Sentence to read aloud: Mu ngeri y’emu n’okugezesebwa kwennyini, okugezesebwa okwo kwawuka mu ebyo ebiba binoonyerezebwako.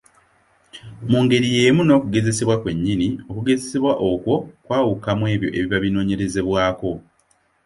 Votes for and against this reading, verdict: 2, 0, accepted